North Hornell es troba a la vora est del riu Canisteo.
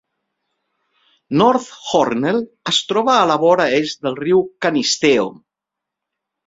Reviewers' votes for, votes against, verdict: 3, 0, accepted